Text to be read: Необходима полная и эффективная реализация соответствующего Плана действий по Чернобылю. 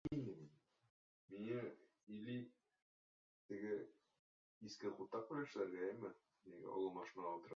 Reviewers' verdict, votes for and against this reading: rejected, 1, 2